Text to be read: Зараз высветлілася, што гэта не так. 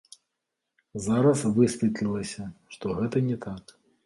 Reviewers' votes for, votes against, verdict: 2, 1, accepted